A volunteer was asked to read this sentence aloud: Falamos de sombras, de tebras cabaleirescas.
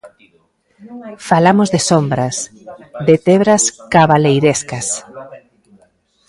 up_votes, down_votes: 1, 2